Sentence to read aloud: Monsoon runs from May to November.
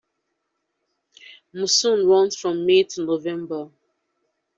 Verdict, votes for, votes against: accepted, 2, 1